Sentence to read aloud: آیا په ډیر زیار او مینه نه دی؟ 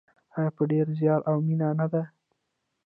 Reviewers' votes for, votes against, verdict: 1, 2, rejected